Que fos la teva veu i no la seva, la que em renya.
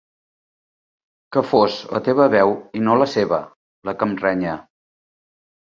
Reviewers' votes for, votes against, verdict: 2, 0, accepted